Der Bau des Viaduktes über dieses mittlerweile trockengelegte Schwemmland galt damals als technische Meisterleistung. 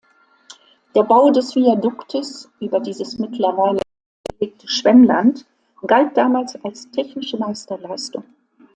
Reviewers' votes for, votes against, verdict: 0, 2, rejected